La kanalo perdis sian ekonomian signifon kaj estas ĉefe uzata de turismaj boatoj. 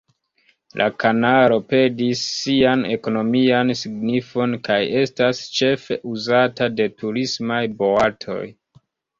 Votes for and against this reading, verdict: 1, 2, rejected